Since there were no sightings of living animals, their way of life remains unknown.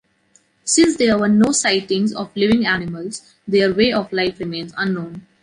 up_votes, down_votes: 2, 0